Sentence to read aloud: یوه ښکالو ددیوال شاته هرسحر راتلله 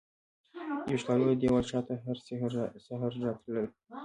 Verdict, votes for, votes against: rejected, 1, 2